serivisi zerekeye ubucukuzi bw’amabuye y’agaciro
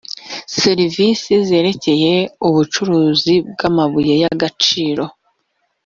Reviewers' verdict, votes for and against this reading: rejected, 1, 2